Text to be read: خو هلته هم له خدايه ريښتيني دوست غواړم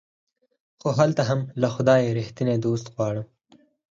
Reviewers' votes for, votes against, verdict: 2, 4, rejected